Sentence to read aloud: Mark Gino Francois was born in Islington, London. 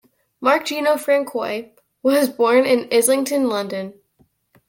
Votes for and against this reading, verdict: 2, 0, accepted